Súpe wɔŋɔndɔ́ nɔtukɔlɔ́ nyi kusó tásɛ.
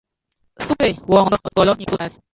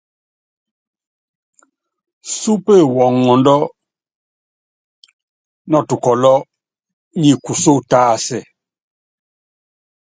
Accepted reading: second